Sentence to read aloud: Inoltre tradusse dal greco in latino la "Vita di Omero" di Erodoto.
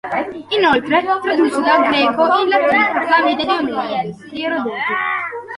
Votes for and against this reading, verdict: 0, 2, rejected